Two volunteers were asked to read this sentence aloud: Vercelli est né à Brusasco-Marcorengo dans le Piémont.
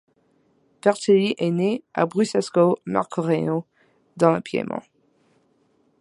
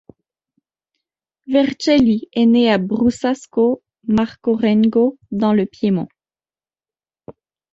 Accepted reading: second